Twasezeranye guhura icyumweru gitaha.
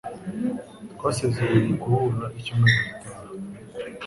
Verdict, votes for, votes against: accepted, 2, 0